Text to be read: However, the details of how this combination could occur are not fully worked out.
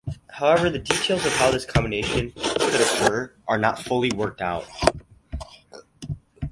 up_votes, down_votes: 2, 0